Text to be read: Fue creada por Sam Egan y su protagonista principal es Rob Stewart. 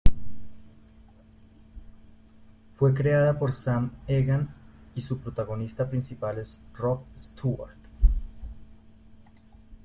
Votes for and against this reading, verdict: 1, 2, rejected